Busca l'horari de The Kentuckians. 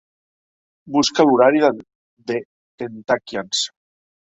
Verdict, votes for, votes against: rejected, 0, 2